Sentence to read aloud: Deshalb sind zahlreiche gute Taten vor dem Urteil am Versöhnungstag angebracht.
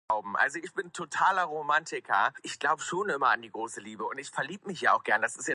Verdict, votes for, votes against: rejected, 0, 2